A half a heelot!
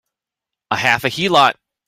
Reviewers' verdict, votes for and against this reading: accepted, 2, 0